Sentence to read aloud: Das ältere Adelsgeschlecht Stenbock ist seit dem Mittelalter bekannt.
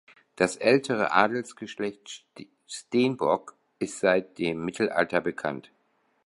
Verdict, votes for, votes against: rejected, 1, 3